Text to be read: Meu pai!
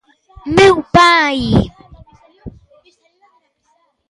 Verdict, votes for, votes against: accepted, 2, 0